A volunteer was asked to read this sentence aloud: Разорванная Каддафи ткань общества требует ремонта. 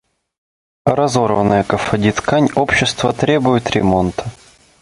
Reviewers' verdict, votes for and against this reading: rejected, 0, 2